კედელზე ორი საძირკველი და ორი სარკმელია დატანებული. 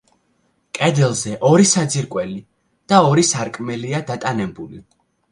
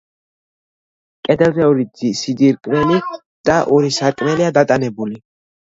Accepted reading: first